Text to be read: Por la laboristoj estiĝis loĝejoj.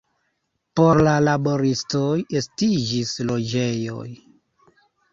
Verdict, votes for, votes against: accepted, 2, 1